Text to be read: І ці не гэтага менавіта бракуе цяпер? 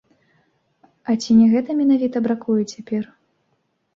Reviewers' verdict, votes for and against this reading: rejected, 0, 2